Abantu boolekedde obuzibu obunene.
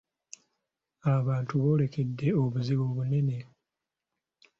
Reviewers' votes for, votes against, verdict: 0, 2, rejected